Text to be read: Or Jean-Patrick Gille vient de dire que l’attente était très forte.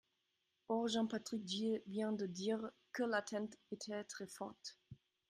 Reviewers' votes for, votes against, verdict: 0, 2, rejected